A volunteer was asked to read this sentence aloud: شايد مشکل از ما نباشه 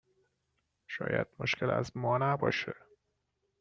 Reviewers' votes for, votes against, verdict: 2, 1, accepted